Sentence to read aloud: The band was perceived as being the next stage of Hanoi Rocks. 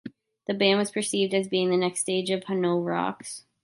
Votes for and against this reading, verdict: 1, 2, rejected